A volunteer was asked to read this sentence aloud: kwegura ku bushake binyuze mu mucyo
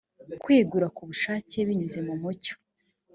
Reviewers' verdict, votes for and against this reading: accepted, 2, 0